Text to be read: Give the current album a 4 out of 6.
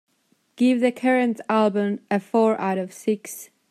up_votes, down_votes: 0, 2